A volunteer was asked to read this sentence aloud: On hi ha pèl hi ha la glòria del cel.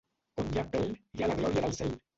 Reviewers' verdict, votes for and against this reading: rejected, 0, 2